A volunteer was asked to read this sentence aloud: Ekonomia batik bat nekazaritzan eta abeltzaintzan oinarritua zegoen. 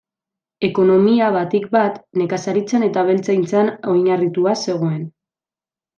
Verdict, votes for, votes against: accepted, 2, 0